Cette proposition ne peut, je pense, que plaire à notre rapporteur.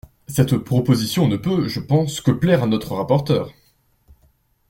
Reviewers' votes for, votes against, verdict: 2, 0, accepted